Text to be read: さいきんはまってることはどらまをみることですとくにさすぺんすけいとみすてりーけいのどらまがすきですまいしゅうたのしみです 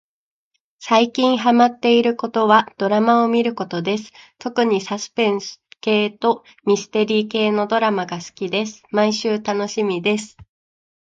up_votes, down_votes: 2, 1